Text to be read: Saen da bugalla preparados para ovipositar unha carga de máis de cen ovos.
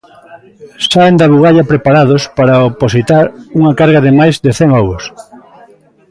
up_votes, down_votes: 0, 2